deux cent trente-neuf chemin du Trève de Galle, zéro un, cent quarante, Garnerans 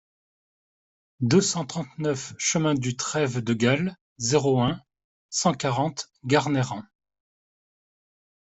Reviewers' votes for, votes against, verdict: 2, 0, accepted